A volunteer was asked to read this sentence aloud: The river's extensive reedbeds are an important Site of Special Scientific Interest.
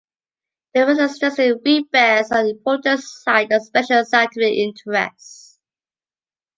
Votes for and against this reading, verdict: 0, 2, rejected